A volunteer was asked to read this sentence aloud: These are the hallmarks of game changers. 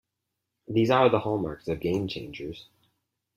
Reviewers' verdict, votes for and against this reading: accepted, 4, 0